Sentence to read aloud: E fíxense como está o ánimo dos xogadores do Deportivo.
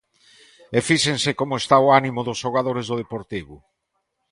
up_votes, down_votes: 2, 0